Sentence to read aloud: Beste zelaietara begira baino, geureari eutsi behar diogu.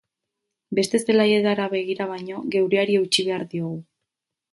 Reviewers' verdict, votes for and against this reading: rejected, 2, 2